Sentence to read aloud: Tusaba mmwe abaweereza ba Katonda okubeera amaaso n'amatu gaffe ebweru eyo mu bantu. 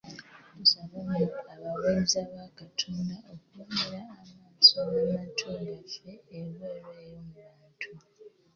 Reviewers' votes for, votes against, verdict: 1, 2, rejected